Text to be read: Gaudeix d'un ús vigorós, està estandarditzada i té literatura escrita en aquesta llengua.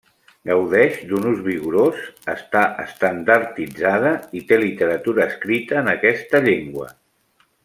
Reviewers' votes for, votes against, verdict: 2, 0, accepted